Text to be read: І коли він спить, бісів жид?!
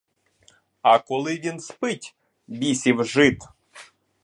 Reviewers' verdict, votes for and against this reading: rejected, 0, 2